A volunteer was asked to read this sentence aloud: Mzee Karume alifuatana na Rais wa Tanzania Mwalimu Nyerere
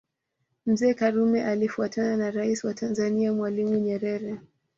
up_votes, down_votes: 2, 0